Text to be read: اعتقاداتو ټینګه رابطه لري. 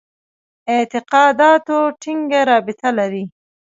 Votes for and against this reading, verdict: 0, 2, rejected